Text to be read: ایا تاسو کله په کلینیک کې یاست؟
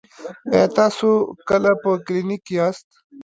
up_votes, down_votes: 0, 2